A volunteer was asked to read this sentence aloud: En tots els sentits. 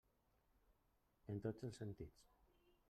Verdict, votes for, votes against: rejected, 1, 2